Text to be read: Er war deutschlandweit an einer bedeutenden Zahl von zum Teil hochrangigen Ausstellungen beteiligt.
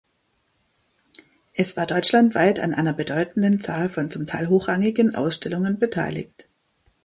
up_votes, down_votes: 0, 2